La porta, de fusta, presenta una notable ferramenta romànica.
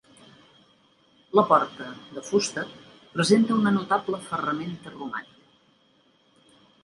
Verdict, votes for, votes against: rejected, 0, 3